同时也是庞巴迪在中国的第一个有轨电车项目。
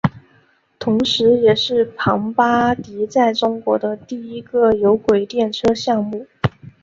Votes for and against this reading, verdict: 2, 0, accepted